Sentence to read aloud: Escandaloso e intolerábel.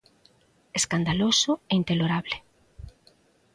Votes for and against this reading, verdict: 0, 2, rejected